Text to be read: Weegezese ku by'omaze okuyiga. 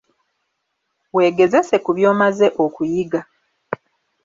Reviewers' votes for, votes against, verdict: 2, 0, accepted